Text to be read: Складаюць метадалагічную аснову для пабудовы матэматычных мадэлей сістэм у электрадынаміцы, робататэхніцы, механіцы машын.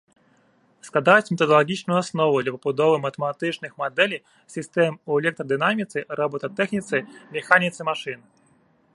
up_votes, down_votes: 2, 0